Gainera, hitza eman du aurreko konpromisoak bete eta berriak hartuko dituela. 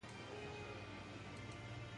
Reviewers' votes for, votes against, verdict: 0, 2, rejected